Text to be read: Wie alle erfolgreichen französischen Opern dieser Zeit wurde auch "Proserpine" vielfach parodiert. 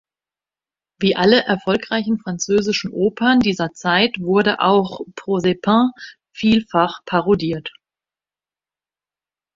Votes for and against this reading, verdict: 2, 0, accepted